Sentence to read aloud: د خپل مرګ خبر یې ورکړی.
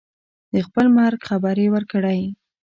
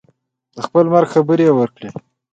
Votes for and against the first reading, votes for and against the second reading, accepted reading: 1, 2, 3, 0, second